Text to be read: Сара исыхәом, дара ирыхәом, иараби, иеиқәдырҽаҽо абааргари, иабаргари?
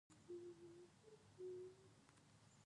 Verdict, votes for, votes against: rejected, 0, 2